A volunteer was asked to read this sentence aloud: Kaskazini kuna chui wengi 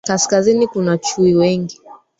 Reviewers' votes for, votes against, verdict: 1, 2, rejected